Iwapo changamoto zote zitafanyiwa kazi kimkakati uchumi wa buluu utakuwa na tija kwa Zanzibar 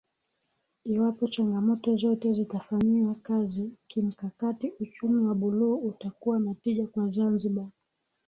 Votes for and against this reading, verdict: 2, 0, accepted